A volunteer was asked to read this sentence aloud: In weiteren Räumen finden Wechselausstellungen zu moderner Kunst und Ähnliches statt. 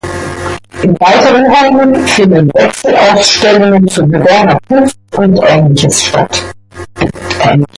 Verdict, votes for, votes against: rejected, 0, 2